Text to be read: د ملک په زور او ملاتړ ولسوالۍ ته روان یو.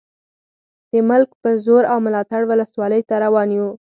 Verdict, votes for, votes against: accepted, 4, 0